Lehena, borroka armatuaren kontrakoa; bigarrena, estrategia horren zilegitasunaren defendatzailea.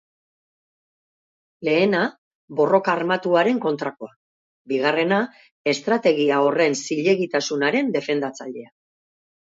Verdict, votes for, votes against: accepted, 2, 0